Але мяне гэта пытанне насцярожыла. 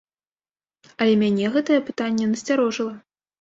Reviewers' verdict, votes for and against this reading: rejected, 1, 2